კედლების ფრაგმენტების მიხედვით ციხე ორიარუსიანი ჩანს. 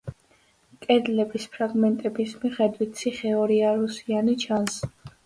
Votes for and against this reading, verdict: 2, 0, accepted